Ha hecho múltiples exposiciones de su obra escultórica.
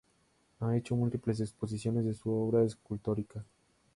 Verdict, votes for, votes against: accepted, 2, 0